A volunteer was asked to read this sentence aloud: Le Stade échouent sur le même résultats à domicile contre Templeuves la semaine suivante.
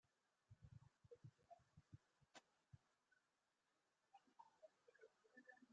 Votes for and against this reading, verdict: 0, 2, rejected